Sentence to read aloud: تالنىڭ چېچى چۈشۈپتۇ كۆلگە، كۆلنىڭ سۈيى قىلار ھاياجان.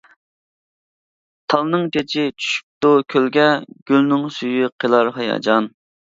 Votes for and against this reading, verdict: 0, 2, rejected